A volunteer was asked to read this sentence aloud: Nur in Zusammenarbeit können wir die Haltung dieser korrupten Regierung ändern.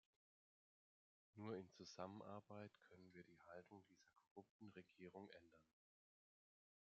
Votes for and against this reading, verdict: 0, 2, rejected